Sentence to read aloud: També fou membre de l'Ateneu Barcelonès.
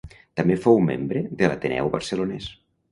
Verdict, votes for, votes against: accepted, 2, 0